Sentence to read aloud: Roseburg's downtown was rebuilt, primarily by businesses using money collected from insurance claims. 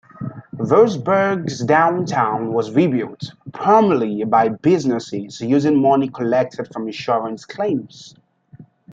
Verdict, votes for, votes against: accepted, 2, 0